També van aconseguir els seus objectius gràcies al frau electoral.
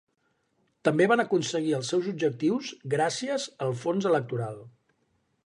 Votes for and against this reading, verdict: 0, 3, rejected